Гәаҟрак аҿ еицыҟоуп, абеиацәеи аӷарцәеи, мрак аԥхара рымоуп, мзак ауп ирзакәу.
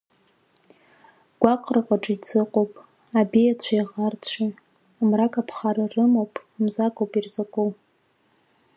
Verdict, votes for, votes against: rejected, 1, 2